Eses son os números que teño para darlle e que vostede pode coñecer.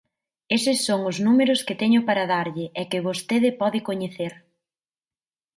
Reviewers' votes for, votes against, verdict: 2, 0, accepted